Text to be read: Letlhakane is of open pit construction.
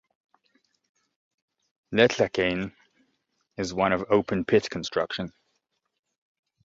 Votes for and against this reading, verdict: 1, 2, rejected